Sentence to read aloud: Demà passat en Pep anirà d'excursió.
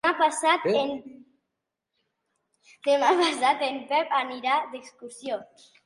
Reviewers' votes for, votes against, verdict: 0, 3, rejected